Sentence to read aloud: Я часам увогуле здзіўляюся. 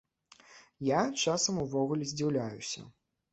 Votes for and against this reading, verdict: 2, 0, accepted